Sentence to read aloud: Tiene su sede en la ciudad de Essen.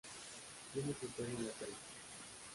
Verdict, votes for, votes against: rejected, 0, 2